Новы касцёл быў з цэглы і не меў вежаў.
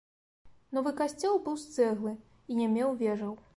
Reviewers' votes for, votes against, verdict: 2, 0, accepted